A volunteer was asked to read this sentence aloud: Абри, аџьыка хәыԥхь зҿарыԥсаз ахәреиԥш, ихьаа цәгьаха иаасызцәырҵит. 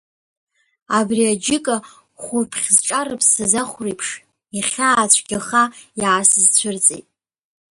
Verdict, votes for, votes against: rejected, 0, 2